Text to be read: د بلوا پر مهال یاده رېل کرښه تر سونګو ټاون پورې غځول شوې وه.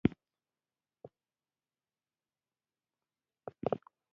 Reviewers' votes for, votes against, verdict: 1, 2, rejected